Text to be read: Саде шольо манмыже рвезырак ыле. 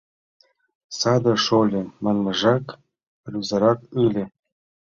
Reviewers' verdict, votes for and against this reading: rejected, 0, 2